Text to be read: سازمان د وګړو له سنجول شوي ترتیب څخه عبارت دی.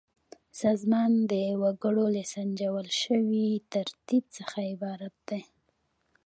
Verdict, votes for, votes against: rejected, 0, 2